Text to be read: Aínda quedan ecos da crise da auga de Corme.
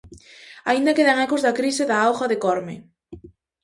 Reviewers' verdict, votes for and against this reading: accepted, 2, 0